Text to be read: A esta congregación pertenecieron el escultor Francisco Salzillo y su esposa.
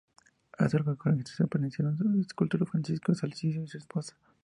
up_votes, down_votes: 0, 2